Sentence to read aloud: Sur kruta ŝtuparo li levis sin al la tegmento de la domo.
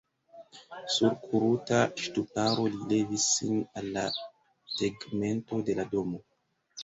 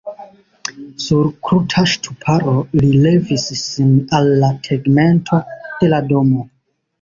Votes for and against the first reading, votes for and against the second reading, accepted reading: 0, 2, 2, 1, second